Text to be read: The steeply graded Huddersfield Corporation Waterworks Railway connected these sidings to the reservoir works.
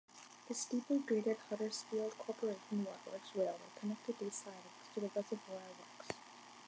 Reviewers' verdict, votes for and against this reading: rejected, 2, 3